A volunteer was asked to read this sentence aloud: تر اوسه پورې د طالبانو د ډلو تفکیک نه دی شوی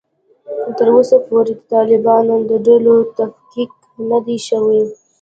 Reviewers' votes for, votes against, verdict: 0, 2, rejected